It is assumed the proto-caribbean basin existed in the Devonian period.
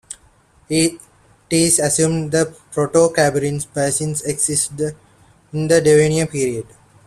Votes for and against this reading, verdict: 2, 1, accepted